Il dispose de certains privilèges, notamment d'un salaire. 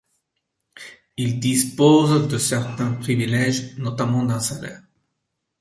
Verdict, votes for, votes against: accepted, 2, 0